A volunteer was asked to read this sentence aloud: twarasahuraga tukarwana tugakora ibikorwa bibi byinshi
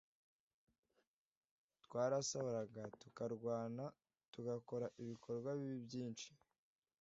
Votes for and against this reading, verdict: 2, 0, accepted